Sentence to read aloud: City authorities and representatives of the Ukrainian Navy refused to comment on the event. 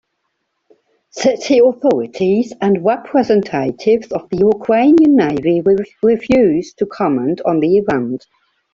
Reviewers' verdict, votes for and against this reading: rejected, 0, 2